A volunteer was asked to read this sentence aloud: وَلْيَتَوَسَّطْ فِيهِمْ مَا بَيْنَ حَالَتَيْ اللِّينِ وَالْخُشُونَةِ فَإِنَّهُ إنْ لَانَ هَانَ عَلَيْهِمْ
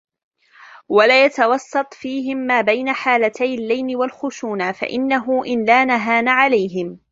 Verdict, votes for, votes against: rejected, 0, 2